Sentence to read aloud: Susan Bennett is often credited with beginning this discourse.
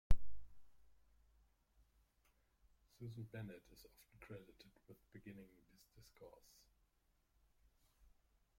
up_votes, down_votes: 0, 2